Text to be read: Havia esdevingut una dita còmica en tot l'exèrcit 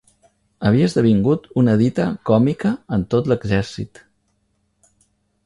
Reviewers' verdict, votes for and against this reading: accepted, 3, 0